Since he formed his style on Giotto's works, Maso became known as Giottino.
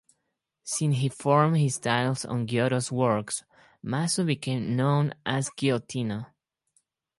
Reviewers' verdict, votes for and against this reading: rejected, 0, 4